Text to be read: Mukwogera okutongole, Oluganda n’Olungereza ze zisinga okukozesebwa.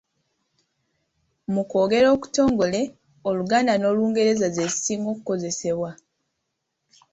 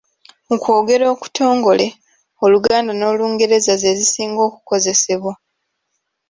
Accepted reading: first